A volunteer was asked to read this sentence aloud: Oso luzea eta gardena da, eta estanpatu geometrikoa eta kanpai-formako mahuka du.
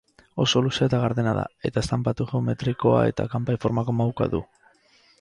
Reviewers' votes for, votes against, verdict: 2, 0, accepted